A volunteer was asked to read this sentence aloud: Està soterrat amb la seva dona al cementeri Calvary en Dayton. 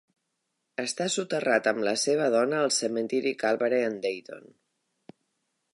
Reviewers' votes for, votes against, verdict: 2, 3, rejected